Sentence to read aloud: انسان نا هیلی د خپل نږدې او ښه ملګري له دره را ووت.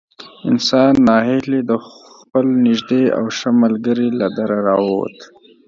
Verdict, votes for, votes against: rejected, 1, 2